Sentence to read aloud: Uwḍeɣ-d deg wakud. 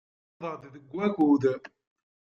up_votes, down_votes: 0, 2